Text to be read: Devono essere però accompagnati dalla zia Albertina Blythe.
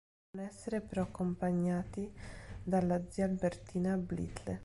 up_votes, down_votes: 1, 2